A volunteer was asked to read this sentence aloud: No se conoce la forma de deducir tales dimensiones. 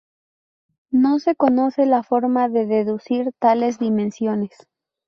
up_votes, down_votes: 2, 0